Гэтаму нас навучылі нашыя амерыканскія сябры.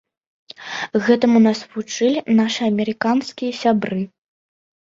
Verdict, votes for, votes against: rejected, 1, 2